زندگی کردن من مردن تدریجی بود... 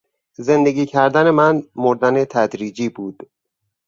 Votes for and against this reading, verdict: 4, 0, accepted